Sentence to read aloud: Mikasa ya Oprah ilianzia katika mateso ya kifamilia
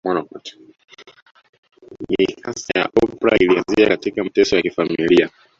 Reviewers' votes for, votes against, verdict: 1, 2, rejected